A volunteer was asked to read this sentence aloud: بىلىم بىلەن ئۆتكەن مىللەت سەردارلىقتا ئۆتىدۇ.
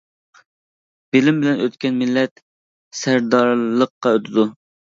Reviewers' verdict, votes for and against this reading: rejected, 1, 2